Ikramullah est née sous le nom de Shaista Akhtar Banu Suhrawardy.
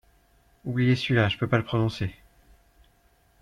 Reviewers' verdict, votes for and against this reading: rejected, 0, 2